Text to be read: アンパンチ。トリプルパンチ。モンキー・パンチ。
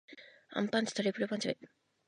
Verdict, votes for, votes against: rejected, 0, 2